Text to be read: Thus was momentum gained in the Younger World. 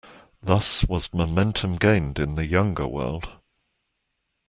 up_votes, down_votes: 3, 0